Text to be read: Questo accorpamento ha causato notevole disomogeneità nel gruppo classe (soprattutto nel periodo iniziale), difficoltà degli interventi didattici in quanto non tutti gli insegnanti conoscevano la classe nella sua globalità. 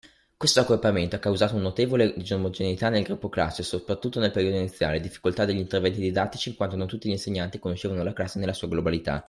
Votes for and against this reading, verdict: 1, 2, rejected